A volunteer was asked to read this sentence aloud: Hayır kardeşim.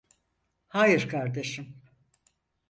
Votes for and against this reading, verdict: 4, 0, accepted